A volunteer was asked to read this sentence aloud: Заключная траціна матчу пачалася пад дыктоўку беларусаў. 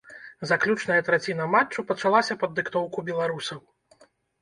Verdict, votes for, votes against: accepted, 2, 0